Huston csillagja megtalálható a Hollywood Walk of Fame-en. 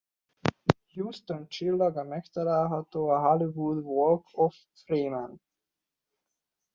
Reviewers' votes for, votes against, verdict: 0, 2, rejected